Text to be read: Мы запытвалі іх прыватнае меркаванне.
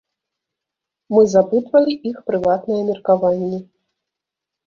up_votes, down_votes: 1, 2